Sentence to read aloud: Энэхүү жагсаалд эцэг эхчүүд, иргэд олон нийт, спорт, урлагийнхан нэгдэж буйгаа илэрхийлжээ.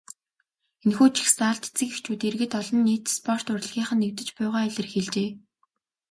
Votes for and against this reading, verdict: 2, 0, accepted